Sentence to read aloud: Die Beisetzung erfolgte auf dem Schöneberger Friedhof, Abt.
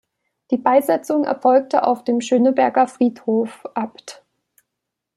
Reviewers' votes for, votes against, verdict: 2, 0, accepted